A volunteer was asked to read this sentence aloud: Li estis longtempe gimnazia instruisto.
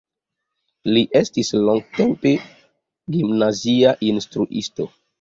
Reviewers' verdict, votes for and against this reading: accepted, 2, 0